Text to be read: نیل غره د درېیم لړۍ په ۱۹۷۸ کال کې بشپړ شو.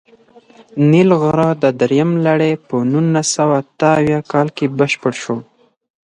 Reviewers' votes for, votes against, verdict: 0, 2, rejected